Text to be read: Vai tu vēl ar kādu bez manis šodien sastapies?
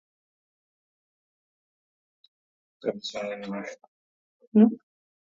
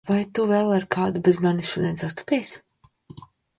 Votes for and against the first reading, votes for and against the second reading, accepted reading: 0, 2, 2, 0, second